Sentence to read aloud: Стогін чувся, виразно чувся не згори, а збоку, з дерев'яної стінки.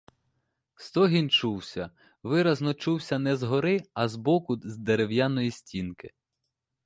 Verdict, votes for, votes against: accepted, 2, 1